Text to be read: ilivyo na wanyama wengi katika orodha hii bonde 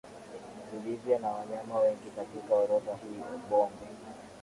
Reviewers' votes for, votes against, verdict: 5, 3, accepted